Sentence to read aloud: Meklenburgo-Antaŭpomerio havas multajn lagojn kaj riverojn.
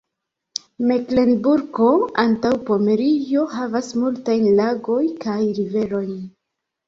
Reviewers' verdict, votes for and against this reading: accepted, 2, 1